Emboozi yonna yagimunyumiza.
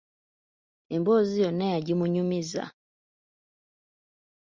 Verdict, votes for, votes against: accepted, 2, 0